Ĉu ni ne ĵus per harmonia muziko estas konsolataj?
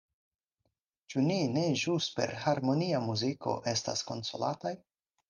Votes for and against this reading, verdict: 4, 0, accepted